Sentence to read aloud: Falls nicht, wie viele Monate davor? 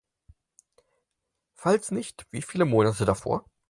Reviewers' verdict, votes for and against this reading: accepted, 4, 0